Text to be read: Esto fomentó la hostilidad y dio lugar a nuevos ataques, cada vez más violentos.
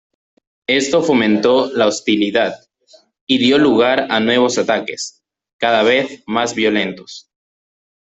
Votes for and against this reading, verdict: 0, 2, rejected